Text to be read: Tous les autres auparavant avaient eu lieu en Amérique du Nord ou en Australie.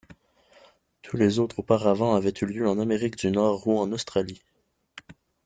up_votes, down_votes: 2, 0